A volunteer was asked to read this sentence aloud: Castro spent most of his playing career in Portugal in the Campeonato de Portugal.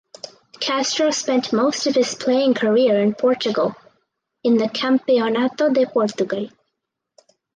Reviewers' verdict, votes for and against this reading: accepted, 4, 2